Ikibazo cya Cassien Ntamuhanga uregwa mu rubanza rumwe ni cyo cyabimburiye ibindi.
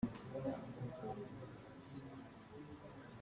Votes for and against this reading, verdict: 0, 2, rejected